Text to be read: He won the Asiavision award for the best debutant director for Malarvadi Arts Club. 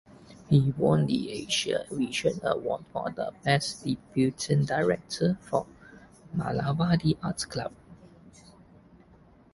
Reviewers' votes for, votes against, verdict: 1, 2, rejected